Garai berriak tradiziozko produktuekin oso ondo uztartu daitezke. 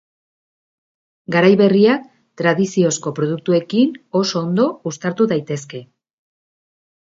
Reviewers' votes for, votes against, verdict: 2, 0, accepted